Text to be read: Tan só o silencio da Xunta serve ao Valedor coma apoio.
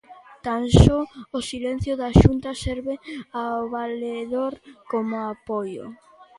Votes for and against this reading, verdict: 3, 0, accepted